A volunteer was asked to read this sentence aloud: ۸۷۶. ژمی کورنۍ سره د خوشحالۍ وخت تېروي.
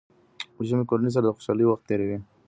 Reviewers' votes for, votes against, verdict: 0, 2, rejected